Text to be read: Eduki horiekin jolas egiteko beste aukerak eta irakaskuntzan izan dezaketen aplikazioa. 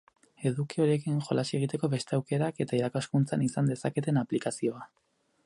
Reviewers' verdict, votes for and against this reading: accepted, 4, 0